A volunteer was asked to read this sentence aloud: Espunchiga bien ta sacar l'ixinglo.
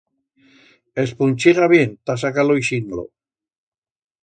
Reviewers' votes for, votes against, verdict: 1, 2, rejected